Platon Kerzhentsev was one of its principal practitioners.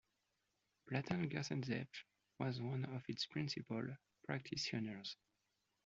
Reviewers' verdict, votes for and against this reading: accepted, 2, 0